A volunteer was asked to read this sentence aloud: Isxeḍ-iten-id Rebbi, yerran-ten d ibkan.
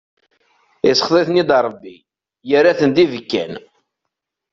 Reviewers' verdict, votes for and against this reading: accepted, 2, 0